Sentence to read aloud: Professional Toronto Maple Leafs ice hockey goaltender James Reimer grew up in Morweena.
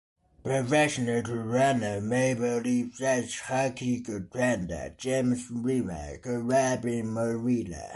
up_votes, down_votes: 2, 1